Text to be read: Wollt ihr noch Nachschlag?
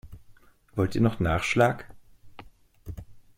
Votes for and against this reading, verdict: 2, 0, accepted